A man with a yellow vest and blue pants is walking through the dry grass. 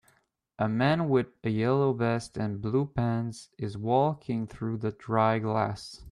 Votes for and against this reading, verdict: 1, 2, rejected